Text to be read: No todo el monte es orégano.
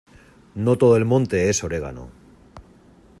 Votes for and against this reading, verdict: 2, 0, accepted